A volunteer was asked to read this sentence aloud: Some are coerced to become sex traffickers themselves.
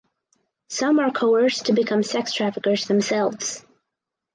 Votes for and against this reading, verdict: 4, 0, accepted